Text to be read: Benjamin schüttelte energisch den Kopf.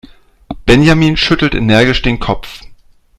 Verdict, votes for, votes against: rejected, 0, 2